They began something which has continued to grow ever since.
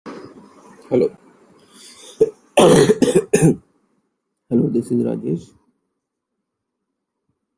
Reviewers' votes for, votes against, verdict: 0, 2, rejected